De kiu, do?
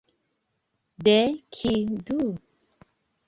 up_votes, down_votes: 2, 0